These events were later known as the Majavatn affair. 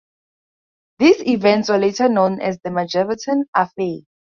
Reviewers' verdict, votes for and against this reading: rejected, 2, 4